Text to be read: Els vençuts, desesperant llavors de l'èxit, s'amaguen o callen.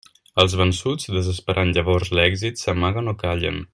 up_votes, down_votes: 1, 2